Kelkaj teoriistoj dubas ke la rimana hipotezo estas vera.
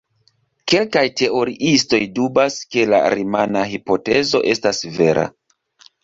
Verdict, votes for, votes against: accepted, 3, 1